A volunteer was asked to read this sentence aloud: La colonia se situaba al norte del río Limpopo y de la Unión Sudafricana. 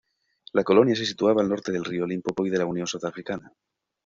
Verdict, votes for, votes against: accepted, 2, 1